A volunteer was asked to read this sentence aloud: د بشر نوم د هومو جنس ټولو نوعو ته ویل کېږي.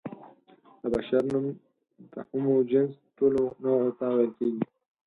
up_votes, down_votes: 2, 4